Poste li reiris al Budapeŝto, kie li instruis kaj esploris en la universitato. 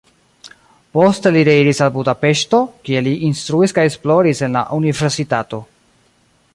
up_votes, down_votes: 1, 2